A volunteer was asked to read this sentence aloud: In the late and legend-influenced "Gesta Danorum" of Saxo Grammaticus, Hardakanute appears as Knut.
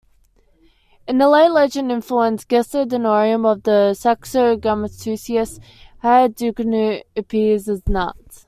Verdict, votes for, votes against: rejected, 0, 2